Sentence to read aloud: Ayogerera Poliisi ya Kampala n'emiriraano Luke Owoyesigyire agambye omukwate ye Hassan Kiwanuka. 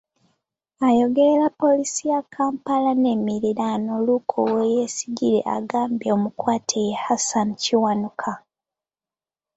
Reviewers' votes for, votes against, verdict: 2, 0, accepted